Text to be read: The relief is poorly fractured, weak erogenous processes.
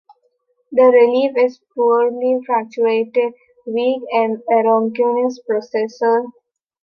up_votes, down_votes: 0, 2